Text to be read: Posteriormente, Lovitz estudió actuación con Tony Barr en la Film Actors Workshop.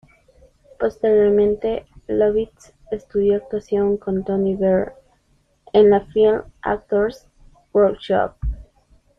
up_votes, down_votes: 2, 1